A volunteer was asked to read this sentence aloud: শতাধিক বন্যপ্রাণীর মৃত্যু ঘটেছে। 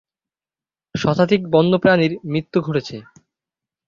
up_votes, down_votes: 2, 0